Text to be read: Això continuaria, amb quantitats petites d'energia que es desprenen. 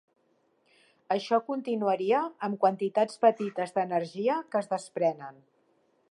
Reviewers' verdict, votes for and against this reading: accepted, 3, 1